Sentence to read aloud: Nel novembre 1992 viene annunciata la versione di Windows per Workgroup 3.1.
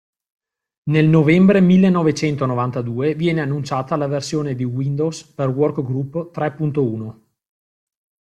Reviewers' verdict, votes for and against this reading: rejected, 0, 2